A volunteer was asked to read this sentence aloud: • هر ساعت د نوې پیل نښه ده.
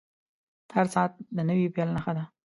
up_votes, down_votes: 2, 0